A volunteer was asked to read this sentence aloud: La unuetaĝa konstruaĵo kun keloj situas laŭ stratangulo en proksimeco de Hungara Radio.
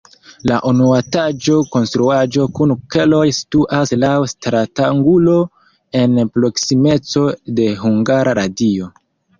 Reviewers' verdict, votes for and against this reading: rejected, 0, 2